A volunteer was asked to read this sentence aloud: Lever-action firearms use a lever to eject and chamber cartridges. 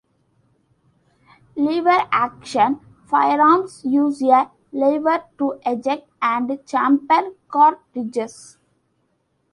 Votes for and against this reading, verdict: 2, 0, accepted